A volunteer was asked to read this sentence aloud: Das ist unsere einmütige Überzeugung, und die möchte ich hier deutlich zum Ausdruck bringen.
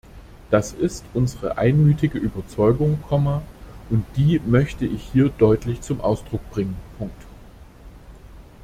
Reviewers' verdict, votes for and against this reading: rejected, 0, 2